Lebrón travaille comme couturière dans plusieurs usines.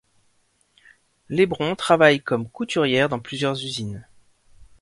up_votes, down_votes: 2, 0